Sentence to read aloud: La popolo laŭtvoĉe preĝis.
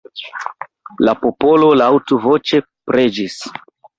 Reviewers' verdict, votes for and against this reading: accepted, 2, 1